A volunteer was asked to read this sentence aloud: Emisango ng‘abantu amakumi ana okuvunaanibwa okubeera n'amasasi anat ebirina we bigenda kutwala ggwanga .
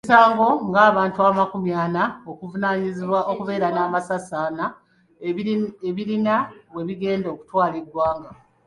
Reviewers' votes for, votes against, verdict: 3, 2, accepted